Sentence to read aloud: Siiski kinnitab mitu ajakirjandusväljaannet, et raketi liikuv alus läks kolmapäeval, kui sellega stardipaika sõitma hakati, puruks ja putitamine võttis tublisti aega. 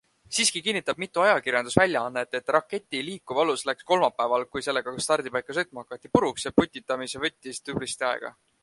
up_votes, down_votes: 2, 0